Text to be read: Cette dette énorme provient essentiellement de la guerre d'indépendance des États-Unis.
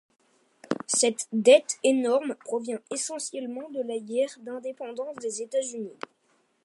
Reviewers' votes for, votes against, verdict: 2, 0, accepted